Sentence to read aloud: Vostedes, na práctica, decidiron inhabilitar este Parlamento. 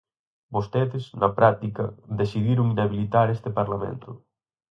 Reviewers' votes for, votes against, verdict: 4, 0, accepted